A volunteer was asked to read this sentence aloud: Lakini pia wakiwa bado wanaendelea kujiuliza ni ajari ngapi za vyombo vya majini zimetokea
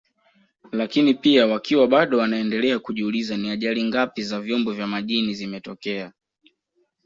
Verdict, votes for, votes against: accepted, 2, 0